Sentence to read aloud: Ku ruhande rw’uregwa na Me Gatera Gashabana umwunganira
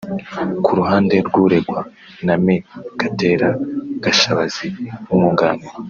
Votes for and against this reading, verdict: 2, 3, rejected